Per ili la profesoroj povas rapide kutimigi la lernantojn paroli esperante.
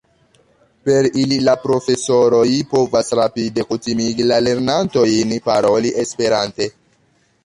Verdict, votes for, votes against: rejected, 0, 2